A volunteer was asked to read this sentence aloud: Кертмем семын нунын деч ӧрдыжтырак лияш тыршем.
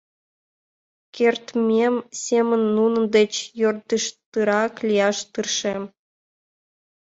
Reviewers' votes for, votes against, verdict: 1, 2, rejected